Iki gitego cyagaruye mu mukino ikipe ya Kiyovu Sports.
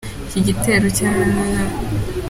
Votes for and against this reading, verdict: 0, 2, rejected